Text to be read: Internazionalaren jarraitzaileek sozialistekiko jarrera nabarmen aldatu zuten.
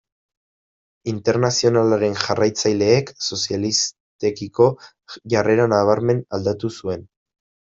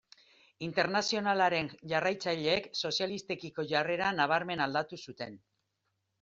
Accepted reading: second